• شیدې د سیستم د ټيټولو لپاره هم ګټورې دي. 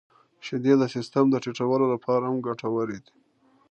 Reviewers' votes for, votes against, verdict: 2, 0, accepted